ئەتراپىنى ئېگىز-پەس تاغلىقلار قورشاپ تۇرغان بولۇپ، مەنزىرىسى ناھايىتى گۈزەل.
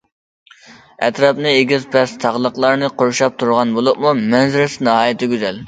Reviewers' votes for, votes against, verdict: 0, 2, rejected